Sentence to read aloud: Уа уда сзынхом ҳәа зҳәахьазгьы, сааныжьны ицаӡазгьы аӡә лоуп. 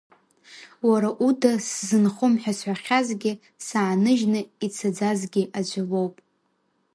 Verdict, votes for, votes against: rejected, 1, 2